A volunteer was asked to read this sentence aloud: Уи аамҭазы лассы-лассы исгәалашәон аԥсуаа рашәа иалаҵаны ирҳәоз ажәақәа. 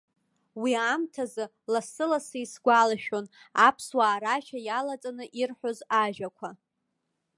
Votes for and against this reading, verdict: 2, 0, accepted